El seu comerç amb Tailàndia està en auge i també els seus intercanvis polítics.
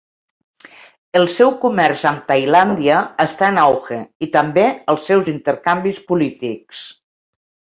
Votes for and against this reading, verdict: 0, 2, rejected